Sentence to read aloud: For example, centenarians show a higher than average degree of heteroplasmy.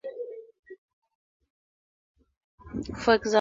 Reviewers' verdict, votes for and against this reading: rejected, 0, 4